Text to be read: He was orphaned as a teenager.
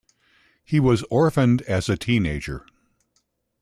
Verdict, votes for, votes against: accepted, 2, 0